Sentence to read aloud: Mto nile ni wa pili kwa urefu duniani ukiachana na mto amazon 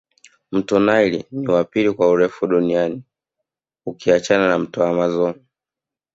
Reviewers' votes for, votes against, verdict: 7, 0, accepted